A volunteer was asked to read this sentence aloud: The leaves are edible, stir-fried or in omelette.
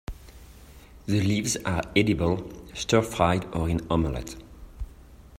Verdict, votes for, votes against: accepted, 2, 0